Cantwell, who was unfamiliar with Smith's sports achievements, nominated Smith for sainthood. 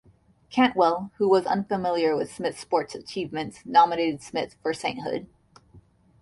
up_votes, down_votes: 2, 0